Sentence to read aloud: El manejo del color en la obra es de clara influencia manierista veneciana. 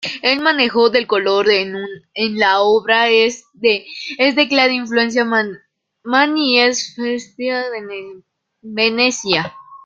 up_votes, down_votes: 0, 2